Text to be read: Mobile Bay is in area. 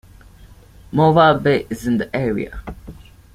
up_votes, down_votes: 2, 1